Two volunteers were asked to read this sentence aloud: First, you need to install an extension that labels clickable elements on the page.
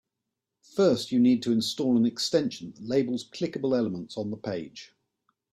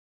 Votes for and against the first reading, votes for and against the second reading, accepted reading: 2, 0, 0, 2, first